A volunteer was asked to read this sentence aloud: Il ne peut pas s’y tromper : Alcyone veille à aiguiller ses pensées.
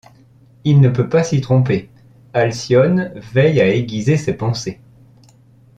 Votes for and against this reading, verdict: 0, 2, rejected